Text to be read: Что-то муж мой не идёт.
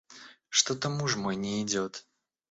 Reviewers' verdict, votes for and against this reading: accepted, 2, 0